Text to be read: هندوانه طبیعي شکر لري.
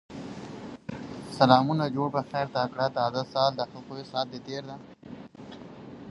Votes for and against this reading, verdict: 1, 2, rejected